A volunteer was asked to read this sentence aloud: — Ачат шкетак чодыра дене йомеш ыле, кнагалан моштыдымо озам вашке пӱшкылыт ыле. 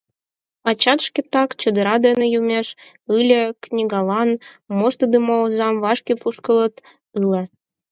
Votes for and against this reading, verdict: 0, 4, rejected